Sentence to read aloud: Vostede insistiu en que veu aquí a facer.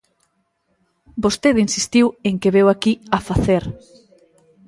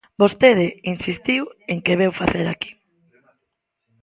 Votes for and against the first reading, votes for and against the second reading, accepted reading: 2, 0, 0, 2, first